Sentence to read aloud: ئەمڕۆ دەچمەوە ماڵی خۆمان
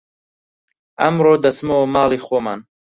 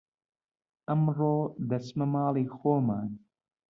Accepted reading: first